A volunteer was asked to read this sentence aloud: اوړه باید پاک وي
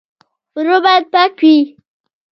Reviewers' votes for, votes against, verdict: 0, 2, rejected